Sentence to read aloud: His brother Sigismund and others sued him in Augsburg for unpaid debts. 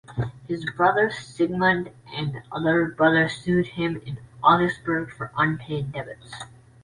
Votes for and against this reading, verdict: 0, 2, rejected